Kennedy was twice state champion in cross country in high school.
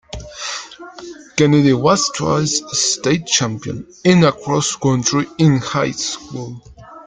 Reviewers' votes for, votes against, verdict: 0, 2, rejected